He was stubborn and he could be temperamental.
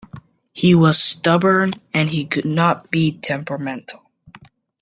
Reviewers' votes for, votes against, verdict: 0, 2, rejected